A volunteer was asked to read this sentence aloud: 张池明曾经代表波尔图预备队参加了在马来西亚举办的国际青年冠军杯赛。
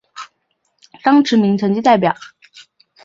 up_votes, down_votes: 0, 2